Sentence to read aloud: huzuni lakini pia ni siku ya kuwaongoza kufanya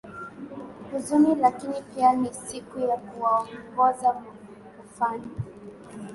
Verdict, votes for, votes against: accepted, 2, 0